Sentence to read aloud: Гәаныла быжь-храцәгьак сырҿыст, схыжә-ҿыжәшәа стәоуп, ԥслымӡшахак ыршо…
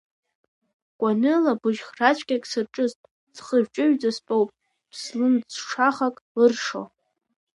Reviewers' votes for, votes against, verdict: 2, 1, accepted